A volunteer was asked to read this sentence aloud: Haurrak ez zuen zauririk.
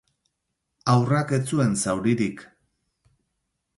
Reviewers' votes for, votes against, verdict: 0, 2, rejected